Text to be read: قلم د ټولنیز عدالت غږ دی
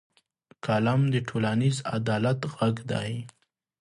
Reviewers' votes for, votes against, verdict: 2, 0, accepted